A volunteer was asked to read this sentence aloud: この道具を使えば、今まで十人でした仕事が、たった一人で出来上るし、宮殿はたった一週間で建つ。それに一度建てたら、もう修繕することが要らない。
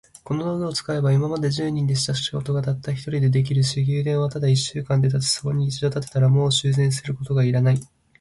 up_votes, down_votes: 2, 0